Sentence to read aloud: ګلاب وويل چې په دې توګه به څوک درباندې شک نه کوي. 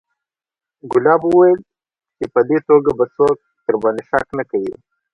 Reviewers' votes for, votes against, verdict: 2, 0, accepted